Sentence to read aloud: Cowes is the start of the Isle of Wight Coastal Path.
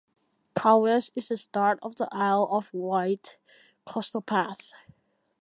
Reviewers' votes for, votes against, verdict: 2, 1, accepted